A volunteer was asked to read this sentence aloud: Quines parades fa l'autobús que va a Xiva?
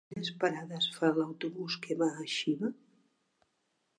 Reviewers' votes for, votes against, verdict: 1, 2, rejected